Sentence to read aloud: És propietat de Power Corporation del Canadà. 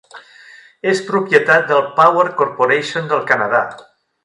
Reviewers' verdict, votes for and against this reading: rejected, 1, 2